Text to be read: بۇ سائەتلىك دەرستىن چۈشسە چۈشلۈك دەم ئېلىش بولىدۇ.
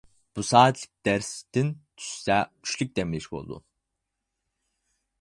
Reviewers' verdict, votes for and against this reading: rejected, 2, 4